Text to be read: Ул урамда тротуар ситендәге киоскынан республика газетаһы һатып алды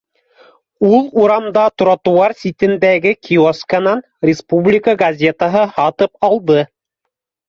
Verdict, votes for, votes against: accepted, 2, 0